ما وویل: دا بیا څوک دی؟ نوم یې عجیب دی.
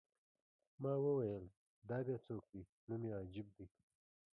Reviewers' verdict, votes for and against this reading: accepted, 2, 0